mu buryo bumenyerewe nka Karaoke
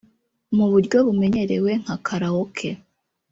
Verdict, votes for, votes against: rejected, 0, 2